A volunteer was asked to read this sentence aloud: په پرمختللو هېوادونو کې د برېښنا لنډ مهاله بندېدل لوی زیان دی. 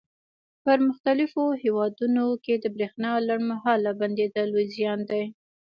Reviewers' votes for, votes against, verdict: 0, 2, rejected